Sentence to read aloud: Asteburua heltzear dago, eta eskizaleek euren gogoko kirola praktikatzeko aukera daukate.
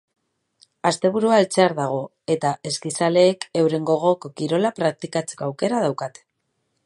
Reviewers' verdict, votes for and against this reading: accepted, 4, 0